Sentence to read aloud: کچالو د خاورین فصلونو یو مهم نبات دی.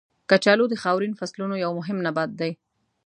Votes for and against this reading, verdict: 2, 0, accepted